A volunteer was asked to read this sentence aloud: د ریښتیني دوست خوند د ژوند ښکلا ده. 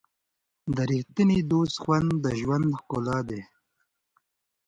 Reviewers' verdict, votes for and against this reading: accepted, 2, 0